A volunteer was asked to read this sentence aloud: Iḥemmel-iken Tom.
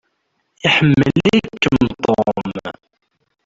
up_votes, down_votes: 0, 2